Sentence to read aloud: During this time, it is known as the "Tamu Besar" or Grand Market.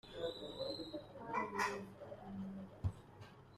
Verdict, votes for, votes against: rejected, 0, 2